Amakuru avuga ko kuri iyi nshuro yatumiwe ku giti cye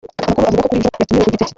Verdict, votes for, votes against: rejected, 1, 2